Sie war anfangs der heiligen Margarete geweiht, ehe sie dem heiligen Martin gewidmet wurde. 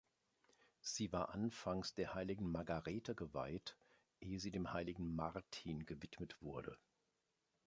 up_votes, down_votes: 2, 0